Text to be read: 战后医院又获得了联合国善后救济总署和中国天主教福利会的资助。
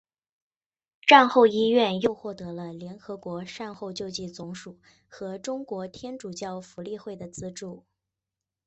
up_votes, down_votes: 2, 1